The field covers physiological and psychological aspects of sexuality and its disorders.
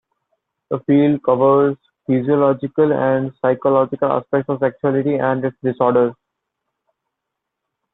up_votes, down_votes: 0, 2